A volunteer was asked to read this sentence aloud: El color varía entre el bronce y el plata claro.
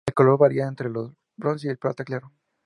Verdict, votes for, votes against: rejected, 0, 2